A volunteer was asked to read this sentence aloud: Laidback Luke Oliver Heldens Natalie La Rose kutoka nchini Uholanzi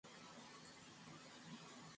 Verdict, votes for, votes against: rejected, 0, 2